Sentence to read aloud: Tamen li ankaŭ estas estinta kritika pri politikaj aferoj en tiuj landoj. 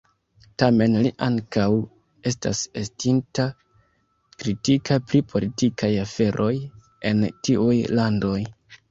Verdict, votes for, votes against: rejected, 1, 2